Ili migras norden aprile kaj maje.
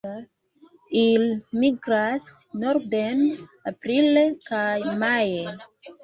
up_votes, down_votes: 1, 2